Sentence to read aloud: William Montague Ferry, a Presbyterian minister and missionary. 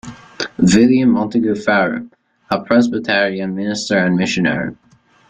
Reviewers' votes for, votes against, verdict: 0, 2, rejected